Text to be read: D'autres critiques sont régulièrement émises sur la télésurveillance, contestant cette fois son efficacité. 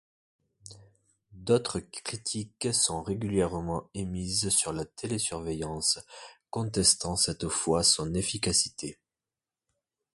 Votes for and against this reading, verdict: 2, 0, accepted